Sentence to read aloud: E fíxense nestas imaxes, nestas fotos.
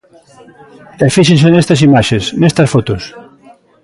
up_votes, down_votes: 2, 1